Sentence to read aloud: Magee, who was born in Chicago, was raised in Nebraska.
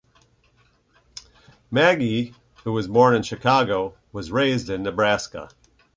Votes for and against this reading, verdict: 2, 0, accepted